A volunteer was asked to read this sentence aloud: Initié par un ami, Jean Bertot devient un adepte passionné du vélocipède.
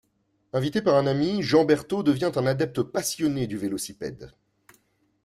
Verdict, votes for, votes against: rejected, 1, 2